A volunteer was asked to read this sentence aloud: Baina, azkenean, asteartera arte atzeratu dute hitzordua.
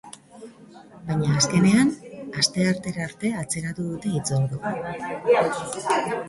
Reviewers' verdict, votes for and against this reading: rejected, 1, 2